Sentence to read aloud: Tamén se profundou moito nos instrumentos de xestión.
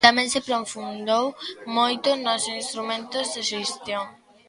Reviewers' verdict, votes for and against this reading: rejected, 0, 2